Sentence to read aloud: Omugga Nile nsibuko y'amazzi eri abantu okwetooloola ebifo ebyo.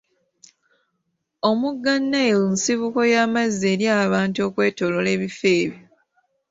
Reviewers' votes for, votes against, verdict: 2, 0, accepted